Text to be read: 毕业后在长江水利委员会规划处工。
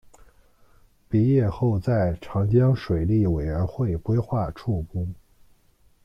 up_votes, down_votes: 2, 0